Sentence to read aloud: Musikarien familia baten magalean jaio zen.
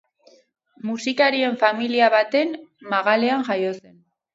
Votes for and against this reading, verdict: 2, 0, accepted